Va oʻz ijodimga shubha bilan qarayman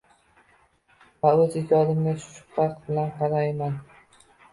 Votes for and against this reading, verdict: 1, 2, rejected